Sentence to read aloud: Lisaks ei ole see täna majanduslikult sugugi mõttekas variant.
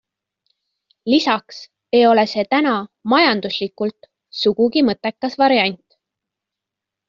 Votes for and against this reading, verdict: 2, 0, accepted